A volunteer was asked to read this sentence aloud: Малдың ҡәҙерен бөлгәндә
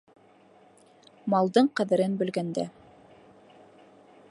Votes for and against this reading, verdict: 2, 0, accepted